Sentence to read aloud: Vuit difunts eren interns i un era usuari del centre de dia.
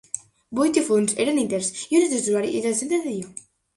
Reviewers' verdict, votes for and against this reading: rejected, 0, 2